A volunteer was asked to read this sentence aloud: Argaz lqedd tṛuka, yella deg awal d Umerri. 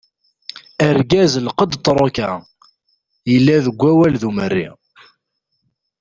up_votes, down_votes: 2, 0